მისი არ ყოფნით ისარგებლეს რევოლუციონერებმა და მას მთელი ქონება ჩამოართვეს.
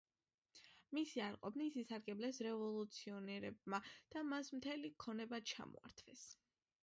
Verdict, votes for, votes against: accepted, 2, 0